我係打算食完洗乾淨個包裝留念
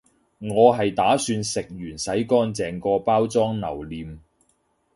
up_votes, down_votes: 3, 0